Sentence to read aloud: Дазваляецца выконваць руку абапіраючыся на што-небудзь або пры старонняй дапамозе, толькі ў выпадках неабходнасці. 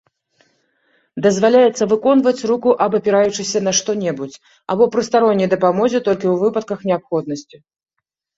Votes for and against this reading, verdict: 2, 0, accepted